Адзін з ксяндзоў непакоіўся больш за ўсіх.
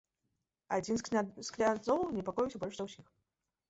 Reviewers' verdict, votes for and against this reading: rejected, 0, 2